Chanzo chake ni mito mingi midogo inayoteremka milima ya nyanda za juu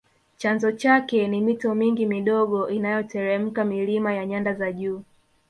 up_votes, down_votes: 3, 1